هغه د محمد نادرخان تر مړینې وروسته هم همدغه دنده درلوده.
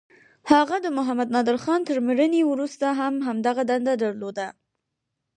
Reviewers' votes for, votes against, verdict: 4, 0, accepted